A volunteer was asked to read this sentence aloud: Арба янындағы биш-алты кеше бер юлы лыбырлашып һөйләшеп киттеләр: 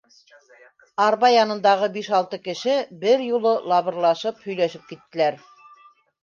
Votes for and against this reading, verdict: 1, 2, rejected